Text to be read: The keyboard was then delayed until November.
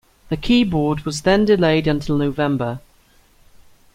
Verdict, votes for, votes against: accepted, 2, 0